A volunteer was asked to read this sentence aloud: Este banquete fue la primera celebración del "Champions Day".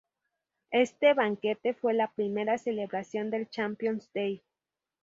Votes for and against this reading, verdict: 2, 0, accepted